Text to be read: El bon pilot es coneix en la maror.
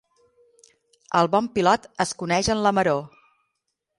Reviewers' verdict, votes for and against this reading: accepted, 12, 0